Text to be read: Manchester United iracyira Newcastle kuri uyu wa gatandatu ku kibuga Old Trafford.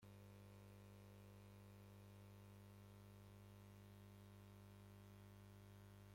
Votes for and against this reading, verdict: 0, 2, rejected